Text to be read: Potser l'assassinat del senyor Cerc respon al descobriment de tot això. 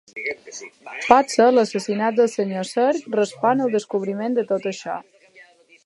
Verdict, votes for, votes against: accepted, 2, 0